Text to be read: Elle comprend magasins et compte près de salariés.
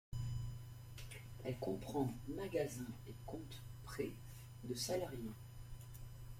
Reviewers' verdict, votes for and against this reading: rejected, 1, 2